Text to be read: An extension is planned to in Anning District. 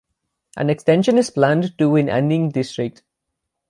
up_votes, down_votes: 3, 3